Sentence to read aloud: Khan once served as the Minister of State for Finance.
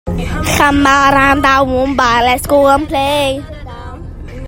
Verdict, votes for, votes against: rejected, 0, 2